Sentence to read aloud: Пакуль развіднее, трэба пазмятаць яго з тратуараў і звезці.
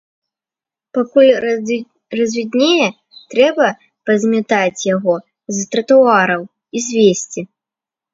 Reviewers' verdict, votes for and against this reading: rejected, 0, 2